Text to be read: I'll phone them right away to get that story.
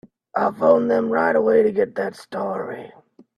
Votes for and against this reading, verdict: 2, 0, accepted